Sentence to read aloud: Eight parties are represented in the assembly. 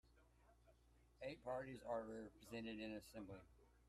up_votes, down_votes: 0, 2